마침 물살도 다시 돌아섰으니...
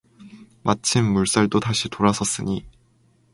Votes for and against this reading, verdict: 4, 0, accepted